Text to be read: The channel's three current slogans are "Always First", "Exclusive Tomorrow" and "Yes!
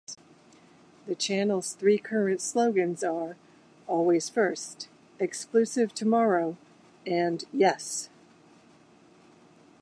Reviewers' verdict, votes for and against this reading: accepted, 2, 0